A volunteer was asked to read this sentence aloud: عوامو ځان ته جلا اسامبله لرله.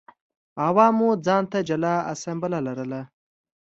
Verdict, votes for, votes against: accepted, 2, 0